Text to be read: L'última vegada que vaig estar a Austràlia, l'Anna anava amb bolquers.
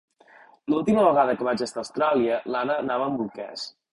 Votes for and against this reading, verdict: 4, 0, accepted